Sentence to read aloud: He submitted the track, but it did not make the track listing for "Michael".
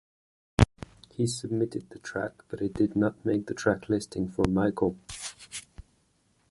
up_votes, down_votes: 1, 2